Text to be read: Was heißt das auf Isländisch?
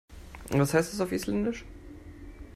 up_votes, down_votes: 2, 0